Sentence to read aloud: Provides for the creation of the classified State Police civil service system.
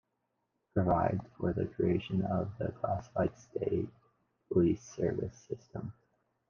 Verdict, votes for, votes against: accepted, 2, 0